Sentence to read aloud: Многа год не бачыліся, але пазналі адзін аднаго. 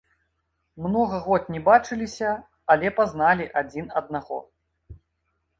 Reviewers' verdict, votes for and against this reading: accepted, 2, 0